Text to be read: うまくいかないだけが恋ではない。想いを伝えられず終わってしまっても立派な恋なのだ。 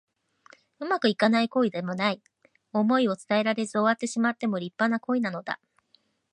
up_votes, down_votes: 0, 2